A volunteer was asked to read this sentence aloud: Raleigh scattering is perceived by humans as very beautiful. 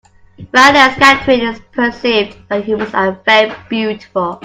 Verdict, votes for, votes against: rejected, 1, 2